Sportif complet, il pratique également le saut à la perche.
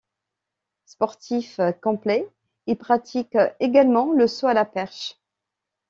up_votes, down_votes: 2, 0